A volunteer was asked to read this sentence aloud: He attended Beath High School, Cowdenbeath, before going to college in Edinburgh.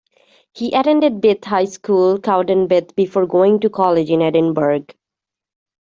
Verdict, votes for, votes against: rejected, 0, 2